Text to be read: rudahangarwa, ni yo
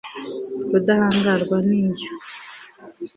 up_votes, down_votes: 4, 0